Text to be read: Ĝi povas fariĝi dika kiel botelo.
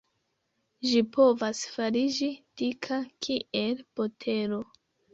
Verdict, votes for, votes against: accepted, 2, 0